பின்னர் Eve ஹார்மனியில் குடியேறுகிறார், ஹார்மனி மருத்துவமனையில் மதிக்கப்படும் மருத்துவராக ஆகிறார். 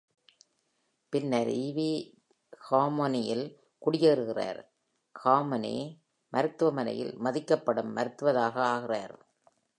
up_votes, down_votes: 1, 2